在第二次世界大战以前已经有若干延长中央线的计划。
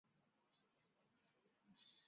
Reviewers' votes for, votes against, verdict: 0, 3, rejected